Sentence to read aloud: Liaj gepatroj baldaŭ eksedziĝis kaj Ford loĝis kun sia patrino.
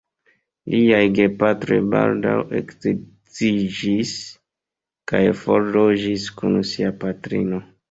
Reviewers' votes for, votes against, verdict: 2, 3, rejected